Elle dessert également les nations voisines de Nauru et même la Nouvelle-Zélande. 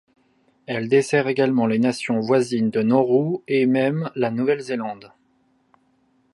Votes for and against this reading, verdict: 2, 0, accepted